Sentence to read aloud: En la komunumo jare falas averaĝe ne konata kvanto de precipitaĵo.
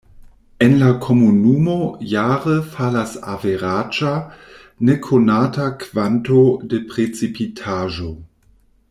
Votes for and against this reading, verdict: 1, 2, rejected